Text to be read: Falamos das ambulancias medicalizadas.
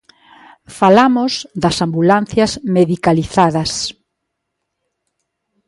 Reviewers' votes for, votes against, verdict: 2, 0, accepted